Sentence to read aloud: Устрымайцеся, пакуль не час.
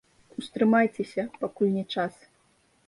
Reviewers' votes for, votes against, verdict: 2, 1, accepted